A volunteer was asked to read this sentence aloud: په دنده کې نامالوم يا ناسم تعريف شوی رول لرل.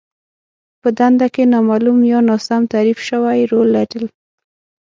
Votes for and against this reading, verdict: 6, 0, accepted